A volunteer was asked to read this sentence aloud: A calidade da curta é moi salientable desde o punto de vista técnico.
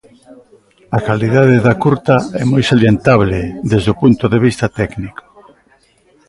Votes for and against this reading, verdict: 2, 0, accepted